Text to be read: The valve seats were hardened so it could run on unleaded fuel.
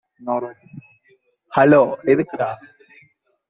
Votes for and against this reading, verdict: 0, 2, rejected